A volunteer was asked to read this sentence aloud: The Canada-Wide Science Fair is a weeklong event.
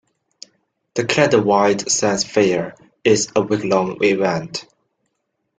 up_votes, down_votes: 1, 2